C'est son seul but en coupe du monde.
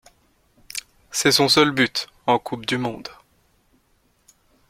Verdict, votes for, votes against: accepted, 2, 0